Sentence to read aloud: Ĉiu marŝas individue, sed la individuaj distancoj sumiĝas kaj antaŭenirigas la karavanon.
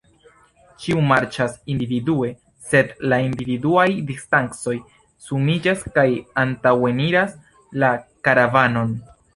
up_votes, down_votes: 1, 2